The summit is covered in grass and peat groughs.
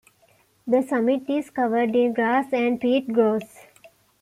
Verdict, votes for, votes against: accepted, 2, 0